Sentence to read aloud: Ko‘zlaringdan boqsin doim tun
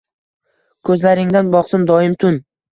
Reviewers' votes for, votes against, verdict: 2, 0, accepted